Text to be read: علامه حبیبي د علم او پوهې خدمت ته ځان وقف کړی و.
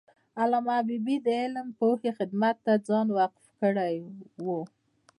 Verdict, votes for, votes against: accepted, 2, 0